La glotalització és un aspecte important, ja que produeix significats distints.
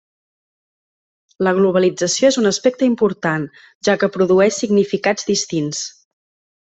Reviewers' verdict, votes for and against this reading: rejected, 0, 2